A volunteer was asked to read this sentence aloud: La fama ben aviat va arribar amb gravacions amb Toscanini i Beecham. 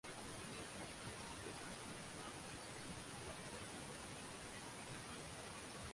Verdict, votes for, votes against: rejected, 1, 2